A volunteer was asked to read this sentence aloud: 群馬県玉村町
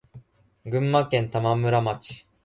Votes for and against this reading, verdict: 2, 0, accepted